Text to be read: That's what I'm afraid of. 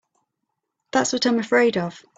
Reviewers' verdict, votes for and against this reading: accepted, 2, 0